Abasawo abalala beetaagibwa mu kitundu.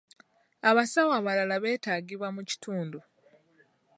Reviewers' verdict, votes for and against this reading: rejected, 0, 2